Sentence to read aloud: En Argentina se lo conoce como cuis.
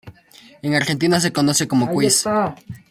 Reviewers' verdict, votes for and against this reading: rejected, 1, 2